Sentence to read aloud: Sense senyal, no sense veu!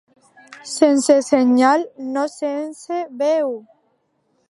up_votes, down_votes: 2, 0